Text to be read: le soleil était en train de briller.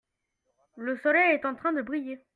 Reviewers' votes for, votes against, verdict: 1, 2, rejected